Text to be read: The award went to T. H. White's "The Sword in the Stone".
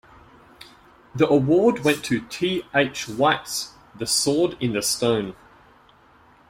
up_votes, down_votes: 2, 0